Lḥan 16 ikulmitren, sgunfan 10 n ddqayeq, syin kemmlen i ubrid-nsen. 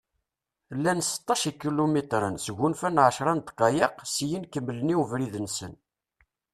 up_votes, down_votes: 0, 2